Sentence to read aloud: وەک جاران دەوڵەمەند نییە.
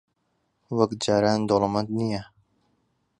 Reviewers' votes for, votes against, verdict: 2, 0, accepted